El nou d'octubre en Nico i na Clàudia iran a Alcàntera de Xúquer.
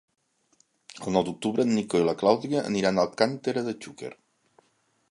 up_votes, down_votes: 2, 3